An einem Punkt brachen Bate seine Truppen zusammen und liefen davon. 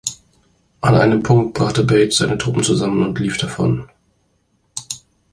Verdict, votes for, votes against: rejected, 1, 2